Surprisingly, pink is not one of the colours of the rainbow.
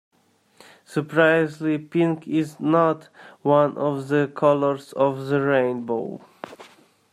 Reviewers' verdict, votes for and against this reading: rejected, 0, 2